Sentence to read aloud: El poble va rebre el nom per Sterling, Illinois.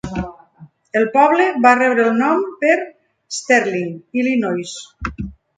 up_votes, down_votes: 2, 0